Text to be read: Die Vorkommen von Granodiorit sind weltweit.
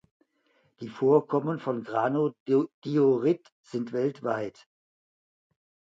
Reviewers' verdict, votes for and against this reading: rejected, 0, 2